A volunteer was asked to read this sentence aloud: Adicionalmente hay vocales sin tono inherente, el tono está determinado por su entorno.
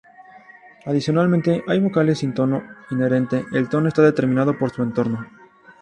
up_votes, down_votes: 2, 0